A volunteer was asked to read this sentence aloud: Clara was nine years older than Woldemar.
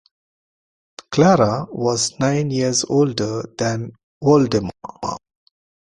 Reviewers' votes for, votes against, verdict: 3, 1, accepted